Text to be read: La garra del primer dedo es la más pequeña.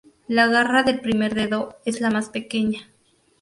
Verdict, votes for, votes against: accepted, 2, 0